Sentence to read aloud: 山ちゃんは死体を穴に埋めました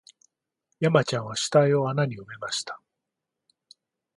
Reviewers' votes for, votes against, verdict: 2, 0, accepted